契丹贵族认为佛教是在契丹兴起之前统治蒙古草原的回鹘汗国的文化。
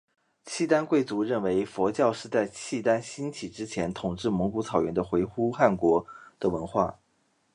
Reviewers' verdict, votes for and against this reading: accepted, 2, 1